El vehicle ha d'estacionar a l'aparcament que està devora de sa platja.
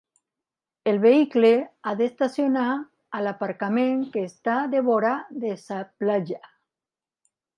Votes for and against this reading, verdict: 3, 2, accepted